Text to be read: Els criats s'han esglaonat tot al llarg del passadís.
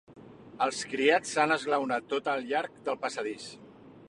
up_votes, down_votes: 3, 0